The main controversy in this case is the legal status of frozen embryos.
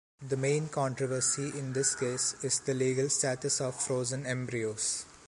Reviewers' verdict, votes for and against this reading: accepted, 2, 0